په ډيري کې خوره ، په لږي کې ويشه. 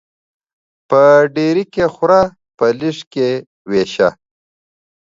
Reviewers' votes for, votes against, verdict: 1, 2, rejected